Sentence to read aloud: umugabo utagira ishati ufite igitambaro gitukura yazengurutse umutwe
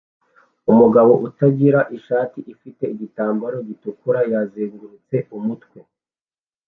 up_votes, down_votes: 2, 0